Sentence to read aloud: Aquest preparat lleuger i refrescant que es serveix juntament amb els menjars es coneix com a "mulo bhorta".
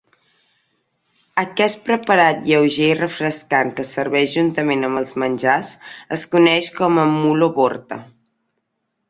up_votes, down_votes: 2, 1